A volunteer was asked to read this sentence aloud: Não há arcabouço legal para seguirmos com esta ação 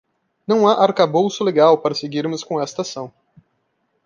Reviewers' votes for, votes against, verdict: 2, 0, accepted